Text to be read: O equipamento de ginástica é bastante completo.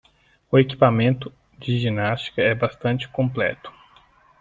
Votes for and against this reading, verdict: 2, 0, accepted